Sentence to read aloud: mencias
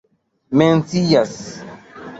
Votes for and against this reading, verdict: 2, 0, accepted